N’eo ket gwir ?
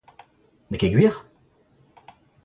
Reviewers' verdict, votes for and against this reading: accepted, 2, 0